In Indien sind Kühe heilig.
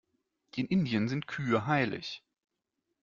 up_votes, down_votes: 2, 0